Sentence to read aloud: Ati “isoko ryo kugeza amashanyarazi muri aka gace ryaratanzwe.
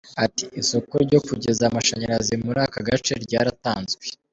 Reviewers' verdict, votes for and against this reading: accepted, 2, 0